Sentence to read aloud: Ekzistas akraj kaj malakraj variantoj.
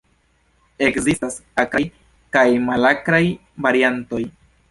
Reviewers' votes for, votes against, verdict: 2, 3, rejected